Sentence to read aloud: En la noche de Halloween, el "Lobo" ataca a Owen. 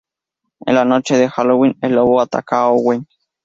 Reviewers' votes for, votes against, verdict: 0, 2, rejected